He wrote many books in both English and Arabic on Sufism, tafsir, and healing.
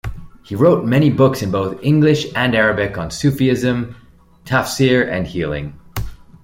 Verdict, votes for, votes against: rejected, 1, 2